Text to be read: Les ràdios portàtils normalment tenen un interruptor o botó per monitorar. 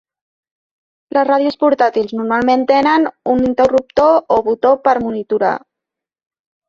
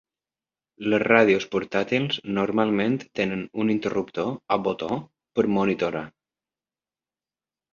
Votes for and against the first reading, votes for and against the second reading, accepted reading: 2, 0, 1, 2, first